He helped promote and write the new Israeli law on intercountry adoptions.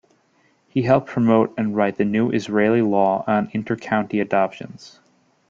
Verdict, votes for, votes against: rejected, 0, 3